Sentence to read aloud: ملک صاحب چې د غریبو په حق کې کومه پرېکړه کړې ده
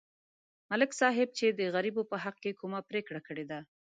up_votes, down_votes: 0, 2